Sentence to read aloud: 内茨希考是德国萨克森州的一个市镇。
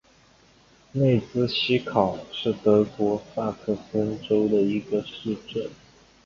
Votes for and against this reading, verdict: 2, 0, accepted